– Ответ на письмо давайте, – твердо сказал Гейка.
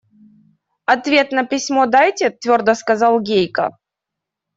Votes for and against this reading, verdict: 0, 2, rejected